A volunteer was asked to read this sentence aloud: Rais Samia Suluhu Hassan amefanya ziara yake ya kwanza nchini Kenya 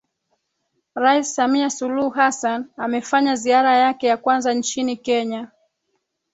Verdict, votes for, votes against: rejected, 1, 3